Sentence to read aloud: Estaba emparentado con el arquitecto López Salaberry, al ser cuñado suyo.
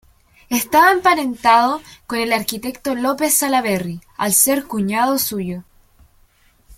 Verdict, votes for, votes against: accepted, 2, 0